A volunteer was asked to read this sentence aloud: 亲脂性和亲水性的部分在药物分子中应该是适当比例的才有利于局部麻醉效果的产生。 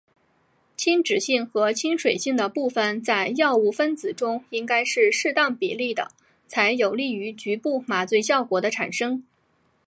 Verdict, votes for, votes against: accepted, 2, 0